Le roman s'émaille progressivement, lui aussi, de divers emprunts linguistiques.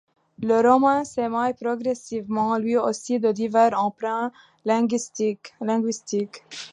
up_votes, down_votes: 0, 2